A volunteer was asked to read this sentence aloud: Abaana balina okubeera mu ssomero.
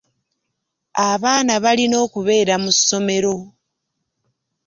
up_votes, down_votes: 2, 0